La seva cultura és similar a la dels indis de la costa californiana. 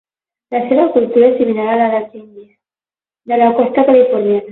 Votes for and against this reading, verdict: 12, 0, accepted